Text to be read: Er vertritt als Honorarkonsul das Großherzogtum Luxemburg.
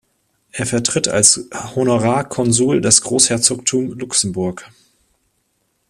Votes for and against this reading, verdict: 1, 2, rejected